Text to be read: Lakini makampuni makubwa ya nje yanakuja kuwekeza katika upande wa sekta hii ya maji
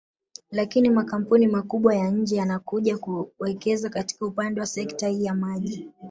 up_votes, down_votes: 1, 2